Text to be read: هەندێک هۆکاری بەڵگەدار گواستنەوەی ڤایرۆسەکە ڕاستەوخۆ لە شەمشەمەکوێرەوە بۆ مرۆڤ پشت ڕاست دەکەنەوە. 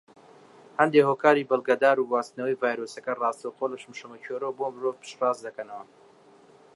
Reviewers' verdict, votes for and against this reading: accepted, 2, 1